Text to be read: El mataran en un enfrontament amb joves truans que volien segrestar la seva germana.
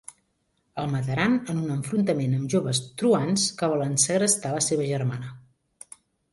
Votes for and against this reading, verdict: 2, 3, rejected